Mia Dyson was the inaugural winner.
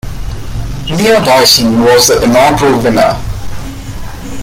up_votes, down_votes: 2, 0